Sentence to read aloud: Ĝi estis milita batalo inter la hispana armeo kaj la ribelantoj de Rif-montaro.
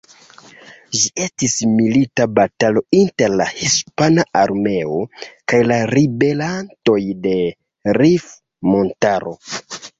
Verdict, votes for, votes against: rejected, 1, 2